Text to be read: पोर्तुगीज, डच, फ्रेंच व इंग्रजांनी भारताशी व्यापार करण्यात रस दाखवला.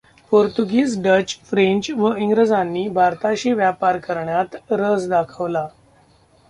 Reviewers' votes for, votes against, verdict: 1, 2, rejected